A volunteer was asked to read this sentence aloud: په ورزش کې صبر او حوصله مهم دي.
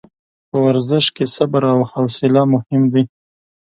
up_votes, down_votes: 2, 0